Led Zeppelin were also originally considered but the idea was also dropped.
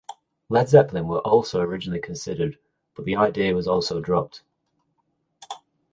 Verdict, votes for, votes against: accepted, 2, 0